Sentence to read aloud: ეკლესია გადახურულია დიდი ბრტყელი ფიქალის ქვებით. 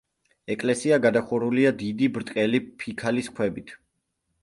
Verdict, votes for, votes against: accepted, 2, 0